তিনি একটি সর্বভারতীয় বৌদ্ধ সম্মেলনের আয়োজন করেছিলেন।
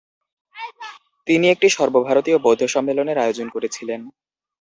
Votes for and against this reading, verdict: 0, 2, rejected